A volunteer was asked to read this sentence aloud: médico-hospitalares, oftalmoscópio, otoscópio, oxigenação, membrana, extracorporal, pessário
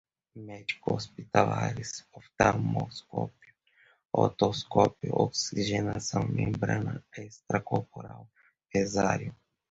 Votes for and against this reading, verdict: 0, 2, rejected